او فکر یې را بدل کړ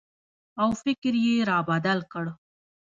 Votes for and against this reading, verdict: 2, 1, accepted